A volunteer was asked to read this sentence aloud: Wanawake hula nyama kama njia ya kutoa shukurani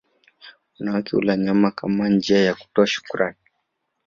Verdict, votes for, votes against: accepted, 3, 0